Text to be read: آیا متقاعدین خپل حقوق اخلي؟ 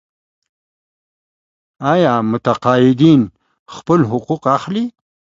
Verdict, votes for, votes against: accepted, 2, 0